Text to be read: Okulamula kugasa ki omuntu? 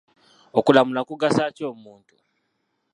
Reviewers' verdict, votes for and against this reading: rejected, 0, 2